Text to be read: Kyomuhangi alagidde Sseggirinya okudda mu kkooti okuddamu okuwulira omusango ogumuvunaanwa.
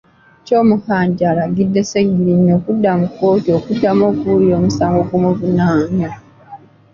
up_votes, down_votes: 1, 2